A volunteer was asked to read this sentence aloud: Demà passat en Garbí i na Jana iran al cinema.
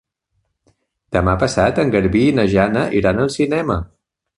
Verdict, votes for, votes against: accepted, 3, 0